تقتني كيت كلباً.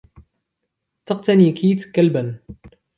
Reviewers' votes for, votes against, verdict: 2, 1, accepted